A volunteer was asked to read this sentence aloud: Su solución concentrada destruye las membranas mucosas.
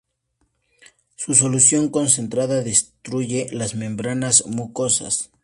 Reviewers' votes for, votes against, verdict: 2, 0, accepted